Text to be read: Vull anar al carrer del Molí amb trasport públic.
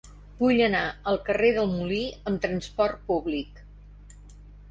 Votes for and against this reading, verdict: 4, 0, accepted